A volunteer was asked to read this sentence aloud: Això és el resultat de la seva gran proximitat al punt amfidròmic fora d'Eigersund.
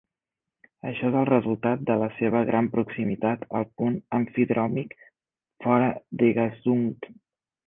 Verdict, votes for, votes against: rejected, 1, 2